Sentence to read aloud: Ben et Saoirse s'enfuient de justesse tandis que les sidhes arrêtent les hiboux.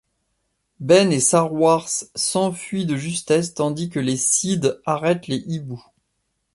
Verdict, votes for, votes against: accepted, 2, 1